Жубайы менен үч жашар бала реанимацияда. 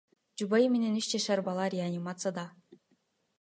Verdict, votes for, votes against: accepted, 2, 1